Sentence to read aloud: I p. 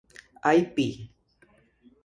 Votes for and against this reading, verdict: 0, 2, rejected